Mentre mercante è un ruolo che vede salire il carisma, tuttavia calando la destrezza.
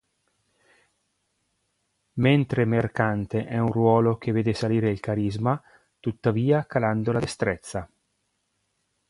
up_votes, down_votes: 2, 0